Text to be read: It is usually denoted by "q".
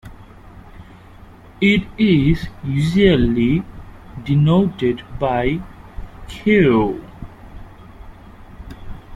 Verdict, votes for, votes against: rejected, 1, 2